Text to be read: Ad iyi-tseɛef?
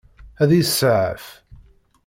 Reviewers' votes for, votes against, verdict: 2, 0, accepted